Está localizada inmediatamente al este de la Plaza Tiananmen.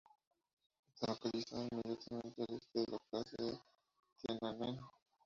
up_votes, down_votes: 0, 2